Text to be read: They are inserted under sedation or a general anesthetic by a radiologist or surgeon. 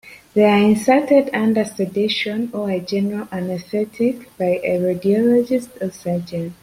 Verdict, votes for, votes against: accepted, 2, 0